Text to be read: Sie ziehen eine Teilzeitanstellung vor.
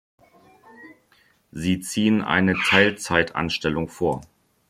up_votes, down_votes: 2, 0